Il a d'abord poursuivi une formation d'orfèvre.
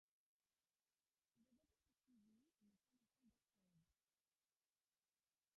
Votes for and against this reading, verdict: 0, 2, rejected